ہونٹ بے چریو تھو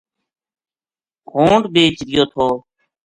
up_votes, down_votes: 2, 0